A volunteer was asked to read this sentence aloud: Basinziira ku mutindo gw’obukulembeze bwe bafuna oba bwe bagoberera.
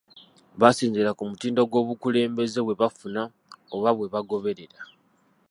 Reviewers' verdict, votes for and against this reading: rejected, 1, 2